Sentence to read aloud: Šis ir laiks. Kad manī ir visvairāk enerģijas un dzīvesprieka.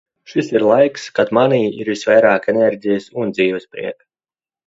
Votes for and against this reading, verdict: 2, 0, accepted